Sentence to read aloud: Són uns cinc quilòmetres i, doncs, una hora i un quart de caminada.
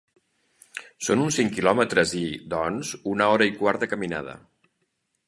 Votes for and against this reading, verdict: 1, 2, rejected